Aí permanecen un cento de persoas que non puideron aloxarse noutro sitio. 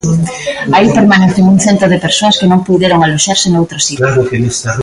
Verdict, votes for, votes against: rejected, 0, 2